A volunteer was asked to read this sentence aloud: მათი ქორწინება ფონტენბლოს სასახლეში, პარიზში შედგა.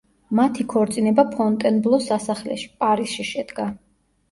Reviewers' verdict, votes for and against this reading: accepted, 2, 0